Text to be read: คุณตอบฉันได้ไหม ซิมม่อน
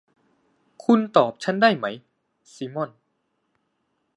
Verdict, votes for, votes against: accepted, 2, 0